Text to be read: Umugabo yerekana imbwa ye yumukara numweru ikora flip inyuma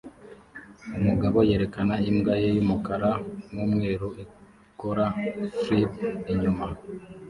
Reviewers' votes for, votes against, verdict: 2, 1, accepted